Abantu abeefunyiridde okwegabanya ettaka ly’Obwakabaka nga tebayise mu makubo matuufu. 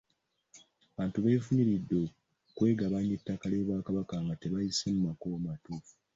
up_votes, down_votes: 2, 0